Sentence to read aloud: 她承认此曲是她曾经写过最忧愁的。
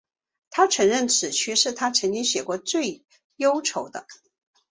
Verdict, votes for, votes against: accepted, 5, 2